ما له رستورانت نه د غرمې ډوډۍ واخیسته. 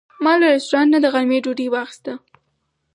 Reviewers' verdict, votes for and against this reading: accepted, 4, 0